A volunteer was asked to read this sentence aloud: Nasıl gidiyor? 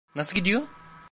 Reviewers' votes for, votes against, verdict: 1, 2, rejected